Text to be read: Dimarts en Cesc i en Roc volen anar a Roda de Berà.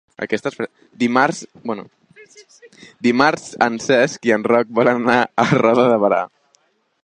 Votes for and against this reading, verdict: 0, 2, rejected